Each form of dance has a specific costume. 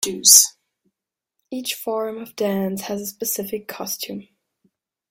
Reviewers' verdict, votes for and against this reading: rejected, 2, 3